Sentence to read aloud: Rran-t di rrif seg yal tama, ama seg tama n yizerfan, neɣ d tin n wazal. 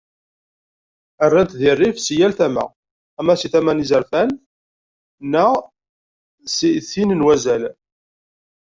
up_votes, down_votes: 1, 2